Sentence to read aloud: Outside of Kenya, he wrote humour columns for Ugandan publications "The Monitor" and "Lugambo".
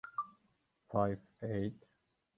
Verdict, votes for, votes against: rejected, 0, 3